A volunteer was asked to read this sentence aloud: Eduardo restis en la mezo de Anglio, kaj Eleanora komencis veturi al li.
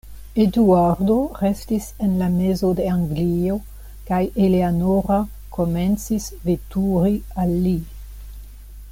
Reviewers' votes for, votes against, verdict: 2, 0, accepted